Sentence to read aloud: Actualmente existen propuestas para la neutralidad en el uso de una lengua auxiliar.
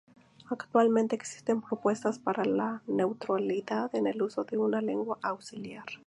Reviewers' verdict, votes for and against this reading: accepted, 4, 0